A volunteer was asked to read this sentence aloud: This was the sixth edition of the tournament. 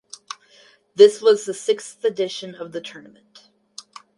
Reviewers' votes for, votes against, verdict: 0, 2, rejected